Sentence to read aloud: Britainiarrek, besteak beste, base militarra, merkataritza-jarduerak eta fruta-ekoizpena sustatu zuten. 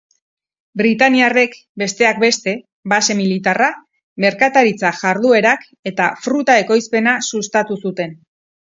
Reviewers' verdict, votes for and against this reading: rejected, 2, 2